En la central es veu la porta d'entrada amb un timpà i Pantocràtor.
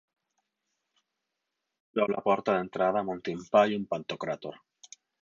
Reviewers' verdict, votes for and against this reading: rejected, 0, 6